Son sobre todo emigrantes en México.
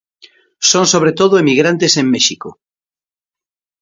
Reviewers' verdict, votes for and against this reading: accepted, 2, 0